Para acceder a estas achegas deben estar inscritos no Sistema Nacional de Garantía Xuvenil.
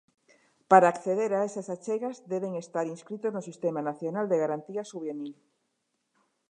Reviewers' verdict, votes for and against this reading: rejected, 1, 2